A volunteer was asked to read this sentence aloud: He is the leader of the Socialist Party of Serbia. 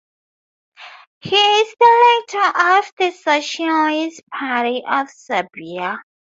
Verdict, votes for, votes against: rejected, 0, 4